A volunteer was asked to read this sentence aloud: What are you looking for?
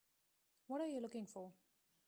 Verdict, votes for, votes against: rejected, 1, 2